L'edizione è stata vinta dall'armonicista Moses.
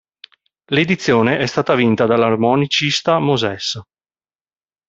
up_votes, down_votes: 1, 2